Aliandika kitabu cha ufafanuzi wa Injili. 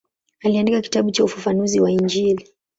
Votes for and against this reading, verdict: 2, 0, accepted